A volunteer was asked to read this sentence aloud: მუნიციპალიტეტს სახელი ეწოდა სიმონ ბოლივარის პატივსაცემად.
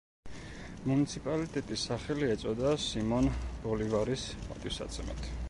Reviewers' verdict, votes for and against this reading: rejected, 1, 2